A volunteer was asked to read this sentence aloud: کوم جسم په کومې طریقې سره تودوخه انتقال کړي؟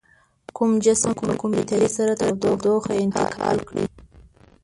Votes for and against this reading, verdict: 1, 2, rejected